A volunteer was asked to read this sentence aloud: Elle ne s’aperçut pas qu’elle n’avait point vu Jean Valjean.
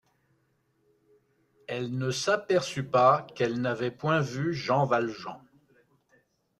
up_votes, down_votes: 2, 0